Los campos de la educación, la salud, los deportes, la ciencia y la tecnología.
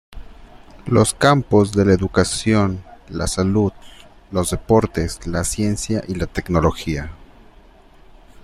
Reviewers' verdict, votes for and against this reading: accepted, 2, 0